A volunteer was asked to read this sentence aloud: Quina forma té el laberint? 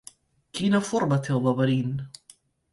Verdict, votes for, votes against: accepted, 2, 0